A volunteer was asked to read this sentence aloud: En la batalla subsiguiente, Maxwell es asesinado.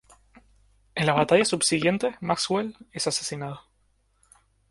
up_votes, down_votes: 2, 0